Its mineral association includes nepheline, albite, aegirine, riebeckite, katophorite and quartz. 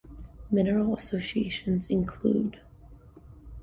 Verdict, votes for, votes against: rejected, 1, 2